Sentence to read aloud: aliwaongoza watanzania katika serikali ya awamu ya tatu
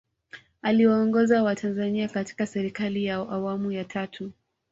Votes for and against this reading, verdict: 2, 0, accepted